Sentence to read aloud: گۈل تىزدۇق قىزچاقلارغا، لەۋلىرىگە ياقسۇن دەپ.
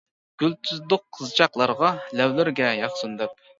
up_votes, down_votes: 2, 0